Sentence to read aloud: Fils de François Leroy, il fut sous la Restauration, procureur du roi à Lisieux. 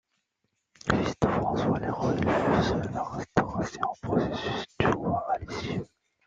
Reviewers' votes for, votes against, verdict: 1, 2, rejected